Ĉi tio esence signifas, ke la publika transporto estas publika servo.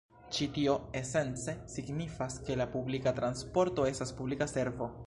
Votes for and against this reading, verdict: 0, 2, rejected